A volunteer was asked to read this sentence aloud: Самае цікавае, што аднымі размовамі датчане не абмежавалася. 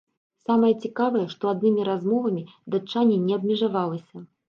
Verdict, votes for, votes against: rejected, 1, 2